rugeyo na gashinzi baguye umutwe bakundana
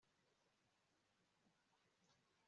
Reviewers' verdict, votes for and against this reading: rejected, 2, 4